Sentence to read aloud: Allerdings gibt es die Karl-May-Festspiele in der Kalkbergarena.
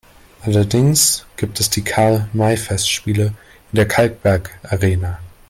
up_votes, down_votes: 2, 1